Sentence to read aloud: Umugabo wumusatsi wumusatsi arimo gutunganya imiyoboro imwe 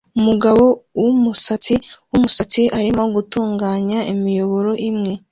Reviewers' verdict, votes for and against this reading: accepted, 2, 0